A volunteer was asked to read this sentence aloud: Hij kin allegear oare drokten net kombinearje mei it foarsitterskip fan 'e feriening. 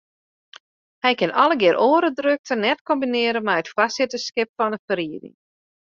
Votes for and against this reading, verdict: 1, 2, rejected